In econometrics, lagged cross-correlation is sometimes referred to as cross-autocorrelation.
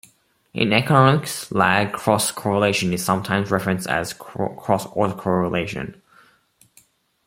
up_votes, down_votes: 0, 2